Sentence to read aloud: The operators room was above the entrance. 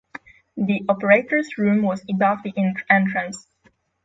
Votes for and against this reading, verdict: 0, 6, rejected